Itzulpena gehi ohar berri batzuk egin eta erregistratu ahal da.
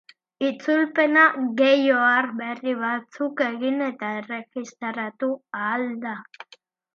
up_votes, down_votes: 4, 0